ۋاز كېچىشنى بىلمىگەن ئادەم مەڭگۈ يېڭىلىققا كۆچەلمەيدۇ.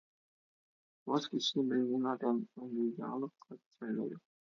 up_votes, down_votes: 0, 6